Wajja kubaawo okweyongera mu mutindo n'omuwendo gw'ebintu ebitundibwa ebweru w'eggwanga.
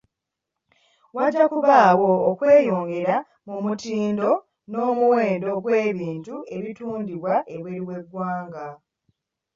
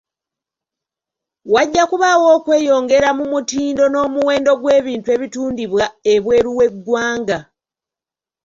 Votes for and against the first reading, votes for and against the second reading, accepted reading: 1, 2, 2, 0, second